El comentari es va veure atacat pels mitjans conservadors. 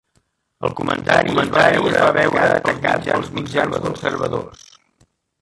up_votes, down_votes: 0, 2